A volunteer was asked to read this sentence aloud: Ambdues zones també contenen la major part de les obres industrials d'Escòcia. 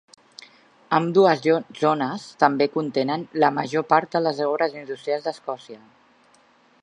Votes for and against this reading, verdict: 1, 2, rejected